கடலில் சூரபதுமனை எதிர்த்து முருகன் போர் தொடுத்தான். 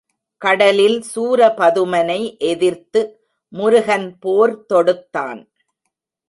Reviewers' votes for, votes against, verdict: 3, 0, accepted